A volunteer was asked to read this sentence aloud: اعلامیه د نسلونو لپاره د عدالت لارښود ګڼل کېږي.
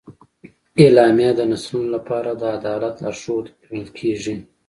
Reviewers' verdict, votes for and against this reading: accepted, 2, 0